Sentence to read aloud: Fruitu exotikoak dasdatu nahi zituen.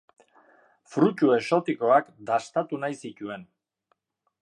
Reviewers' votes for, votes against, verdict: 2, 0, accepted